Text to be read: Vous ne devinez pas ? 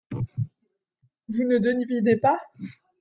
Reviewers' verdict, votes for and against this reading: rejected, 1, 2